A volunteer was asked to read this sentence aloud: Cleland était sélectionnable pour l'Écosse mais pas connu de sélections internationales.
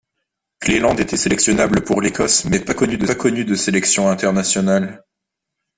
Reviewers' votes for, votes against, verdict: 0, 2, rejected